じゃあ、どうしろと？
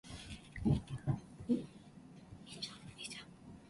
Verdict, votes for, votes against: rejected, 3, 3